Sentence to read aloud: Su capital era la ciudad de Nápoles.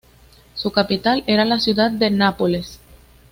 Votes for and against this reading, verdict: 2, 0, accepted